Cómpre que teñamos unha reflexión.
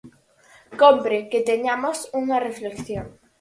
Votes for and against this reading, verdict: 4, 0, accepted